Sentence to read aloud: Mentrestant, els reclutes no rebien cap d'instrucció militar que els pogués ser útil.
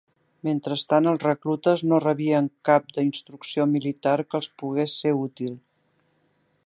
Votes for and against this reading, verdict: 3, 1, accepted